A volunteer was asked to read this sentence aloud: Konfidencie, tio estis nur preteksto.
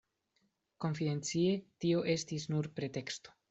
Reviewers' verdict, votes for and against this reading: accepted, 2, 0